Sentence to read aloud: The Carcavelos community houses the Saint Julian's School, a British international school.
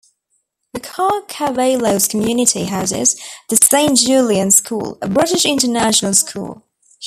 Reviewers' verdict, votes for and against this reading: rejected, 1, 2